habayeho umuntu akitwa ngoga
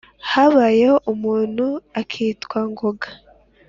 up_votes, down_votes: 2, 0